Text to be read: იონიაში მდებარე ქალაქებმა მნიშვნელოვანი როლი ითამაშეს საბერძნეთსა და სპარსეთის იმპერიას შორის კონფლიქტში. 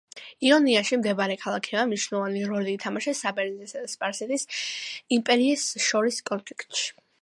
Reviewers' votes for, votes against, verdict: 2, 0, accepted